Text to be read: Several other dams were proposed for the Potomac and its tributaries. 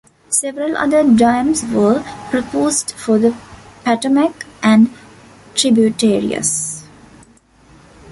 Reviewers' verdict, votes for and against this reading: rejected, 0, 2